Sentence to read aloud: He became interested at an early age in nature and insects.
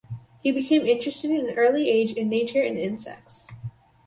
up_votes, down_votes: 4, 0